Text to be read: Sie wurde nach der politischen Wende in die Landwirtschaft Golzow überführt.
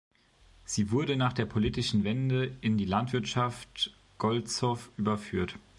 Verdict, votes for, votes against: accepted, 2, 1